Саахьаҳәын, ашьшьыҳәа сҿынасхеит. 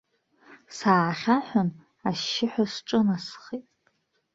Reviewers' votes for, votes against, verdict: 1, 2, rejected